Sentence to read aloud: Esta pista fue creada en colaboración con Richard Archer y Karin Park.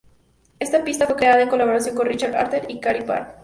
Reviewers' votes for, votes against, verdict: 0, 2, rejected